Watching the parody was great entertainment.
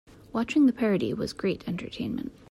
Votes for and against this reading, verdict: 2, 0, accepted